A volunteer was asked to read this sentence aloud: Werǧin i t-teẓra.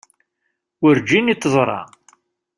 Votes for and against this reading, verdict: 0, 2, rejected